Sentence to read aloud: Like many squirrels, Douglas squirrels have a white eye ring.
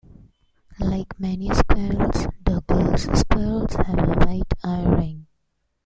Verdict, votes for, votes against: rejected, 1, 2